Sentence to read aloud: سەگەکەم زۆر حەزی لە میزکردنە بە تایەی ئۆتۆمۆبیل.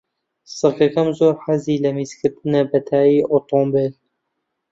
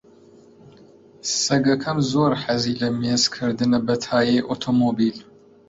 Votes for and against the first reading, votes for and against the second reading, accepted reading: 2, 1, 1, 2, first